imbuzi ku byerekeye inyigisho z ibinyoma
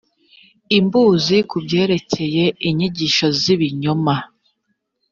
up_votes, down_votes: 3, 0